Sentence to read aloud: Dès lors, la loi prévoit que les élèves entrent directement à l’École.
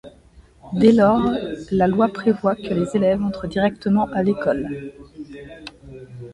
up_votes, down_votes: 2, 0